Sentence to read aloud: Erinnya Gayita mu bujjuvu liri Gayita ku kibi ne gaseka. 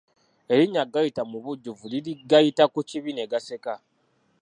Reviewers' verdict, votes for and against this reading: rejected, 1, 2